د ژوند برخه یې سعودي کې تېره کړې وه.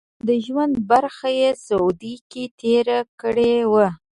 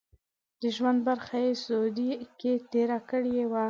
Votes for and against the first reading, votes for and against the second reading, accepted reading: 2, 0, 1, 2, first